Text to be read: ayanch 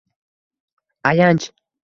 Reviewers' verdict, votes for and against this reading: rejected, 0, 2